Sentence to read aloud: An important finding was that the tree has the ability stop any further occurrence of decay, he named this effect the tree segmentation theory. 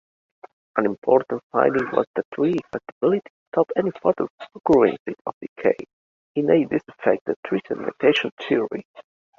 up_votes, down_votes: 0, 2